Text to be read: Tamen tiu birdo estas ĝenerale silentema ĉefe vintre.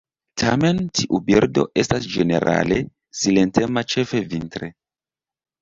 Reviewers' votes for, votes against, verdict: 2, 0, accepted